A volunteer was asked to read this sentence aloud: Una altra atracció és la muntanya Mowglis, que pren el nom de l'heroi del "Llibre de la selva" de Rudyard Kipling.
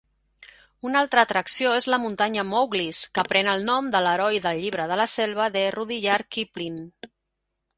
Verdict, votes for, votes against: accepted, 2, 0